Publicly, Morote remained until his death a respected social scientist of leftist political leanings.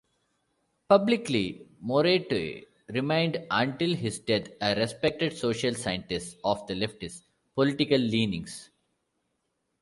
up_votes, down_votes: 2, 0